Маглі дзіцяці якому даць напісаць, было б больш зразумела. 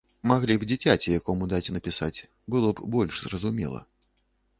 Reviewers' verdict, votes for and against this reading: rejected, 1, 2